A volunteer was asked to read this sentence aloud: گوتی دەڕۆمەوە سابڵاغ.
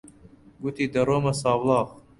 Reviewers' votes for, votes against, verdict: 0, 2, rejected